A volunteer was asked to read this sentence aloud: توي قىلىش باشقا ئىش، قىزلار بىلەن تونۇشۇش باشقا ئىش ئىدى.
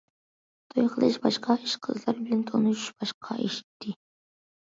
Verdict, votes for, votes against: accepted, 2, 0